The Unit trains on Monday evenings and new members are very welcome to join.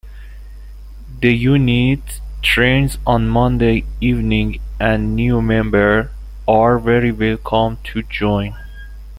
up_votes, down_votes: 0, 2